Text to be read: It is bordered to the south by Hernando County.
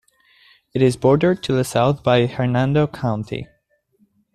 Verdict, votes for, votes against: accepted, 2, 0